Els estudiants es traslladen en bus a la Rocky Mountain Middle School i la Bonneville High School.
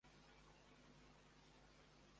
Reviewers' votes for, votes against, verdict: 0, 2, rejected